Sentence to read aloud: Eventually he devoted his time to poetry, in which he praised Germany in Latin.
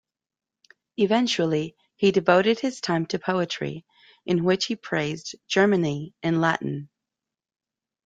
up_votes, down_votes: 2, 0